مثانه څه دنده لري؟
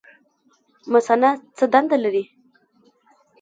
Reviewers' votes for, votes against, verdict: 2, 0, accepted